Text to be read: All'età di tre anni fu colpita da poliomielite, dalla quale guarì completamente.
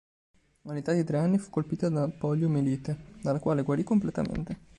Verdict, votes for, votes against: accepted, 5, 0